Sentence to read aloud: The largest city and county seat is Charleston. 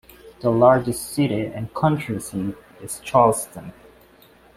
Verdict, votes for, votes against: rejected, 1, 2